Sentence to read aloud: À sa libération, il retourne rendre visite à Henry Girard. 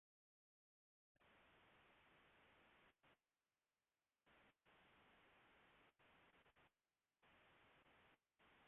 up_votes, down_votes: 0, 2